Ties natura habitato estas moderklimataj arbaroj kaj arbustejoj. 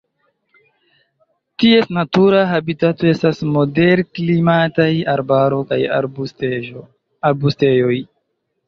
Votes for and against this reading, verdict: 0, 2, rejected